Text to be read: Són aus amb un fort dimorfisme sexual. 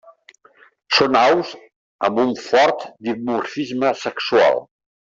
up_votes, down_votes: 3, 0